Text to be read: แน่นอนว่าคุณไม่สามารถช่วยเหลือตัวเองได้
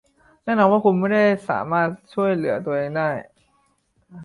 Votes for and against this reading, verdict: 0, 2, rejected